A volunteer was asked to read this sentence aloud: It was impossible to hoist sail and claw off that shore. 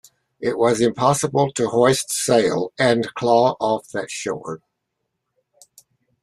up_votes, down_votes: 2, 0